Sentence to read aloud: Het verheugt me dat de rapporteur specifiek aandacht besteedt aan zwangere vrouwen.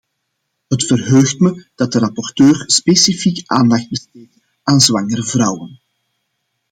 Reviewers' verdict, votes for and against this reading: rejected, 0, 2